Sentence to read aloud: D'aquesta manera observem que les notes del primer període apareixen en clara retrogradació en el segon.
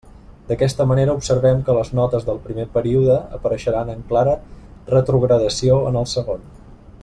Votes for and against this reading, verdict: 0, 2, rejected